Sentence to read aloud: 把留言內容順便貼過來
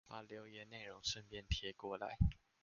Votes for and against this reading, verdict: 2, 0, accepted